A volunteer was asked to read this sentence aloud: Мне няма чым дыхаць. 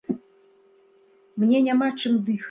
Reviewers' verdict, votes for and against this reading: rejected, 0, 2